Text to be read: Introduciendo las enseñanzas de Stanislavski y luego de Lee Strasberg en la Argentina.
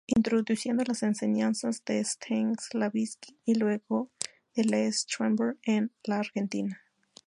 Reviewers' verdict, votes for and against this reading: rejected, 0, 2